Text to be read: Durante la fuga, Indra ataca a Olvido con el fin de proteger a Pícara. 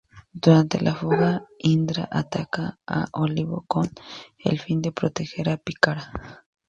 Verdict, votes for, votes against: rejected, 0, 2